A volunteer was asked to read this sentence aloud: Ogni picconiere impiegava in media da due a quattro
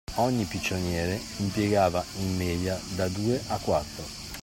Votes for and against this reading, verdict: 1, 2, rejected